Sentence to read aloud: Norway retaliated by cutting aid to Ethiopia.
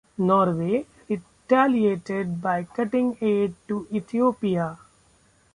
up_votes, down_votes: 2, 1